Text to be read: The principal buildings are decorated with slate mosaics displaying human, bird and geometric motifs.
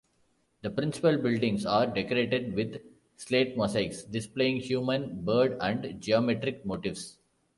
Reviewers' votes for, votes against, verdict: 2, 0, accepted